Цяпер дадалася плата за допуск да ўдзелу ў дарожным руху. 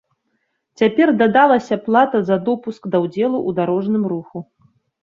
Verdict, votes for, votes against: accepted, 2, 0